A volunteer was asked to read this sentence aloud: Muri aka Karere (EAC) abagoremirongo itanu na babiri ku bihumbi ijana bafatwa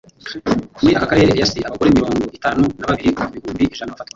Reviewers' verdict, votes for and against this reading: rejected, 1, 2